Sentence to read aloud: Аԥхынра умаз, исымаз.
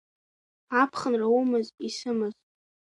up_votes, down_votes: 3, 0